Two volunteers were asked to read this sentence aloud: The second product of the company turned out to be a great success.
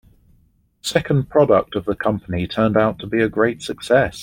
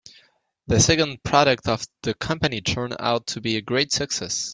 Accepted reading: second